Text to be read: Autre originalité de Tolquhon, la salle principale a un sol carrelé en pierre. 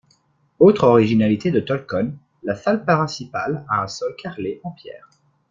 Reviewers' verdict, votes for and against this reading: rejected, 1, 2